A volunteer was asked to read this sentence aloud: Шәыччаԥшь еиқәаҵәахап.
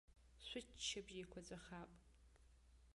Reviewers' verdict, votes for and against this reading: rejected, 1, 2